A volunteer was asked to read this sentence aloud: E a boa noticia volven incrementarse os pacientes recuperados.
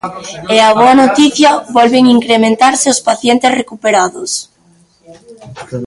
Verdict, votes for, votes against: accepted, 2, 0